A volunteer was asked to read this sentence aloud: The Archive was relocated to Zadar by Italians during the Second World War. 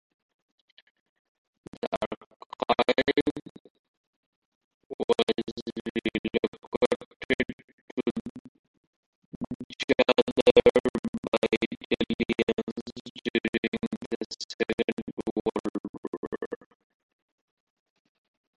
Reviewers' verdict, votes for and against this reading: rejected, 0, 2